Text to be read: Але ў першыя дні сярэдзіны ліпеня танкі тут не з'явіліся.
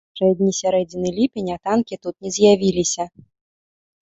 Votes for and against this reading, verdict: 0, 2, rejected